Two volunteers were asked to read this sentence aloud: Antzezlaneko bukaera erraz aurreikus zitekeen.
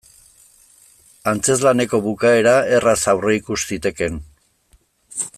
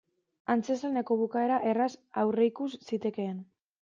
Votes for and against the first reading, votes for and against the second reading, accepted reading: 2, 0, 1, 2, first